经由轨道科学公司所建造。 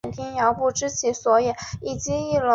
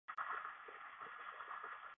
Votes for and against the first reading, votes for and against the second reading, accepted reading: 5, 0, 0, 4, first